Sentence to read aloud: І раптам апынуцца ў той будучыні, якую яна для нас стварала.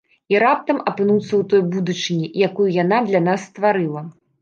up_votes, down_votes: 0, 2